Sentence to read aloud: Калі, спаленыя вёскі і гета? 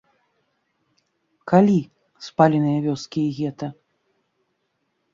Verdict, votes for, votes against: accepted, 2, 0